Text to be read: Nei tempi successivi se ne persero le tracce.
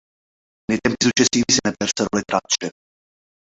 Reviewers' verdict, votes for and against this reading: rejected, 0, 2